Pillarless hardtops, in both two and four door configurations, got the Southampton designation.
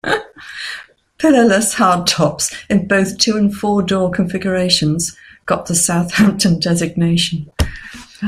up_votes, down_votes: 2, 0